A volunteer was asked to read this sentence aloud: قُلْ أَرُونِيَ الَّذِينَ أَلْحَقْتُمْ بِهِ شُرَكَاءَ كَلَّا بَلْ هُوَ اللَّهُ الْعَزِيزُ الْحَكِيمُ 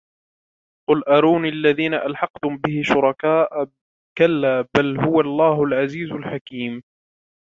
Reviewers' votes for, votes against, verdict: 1, 2, rejected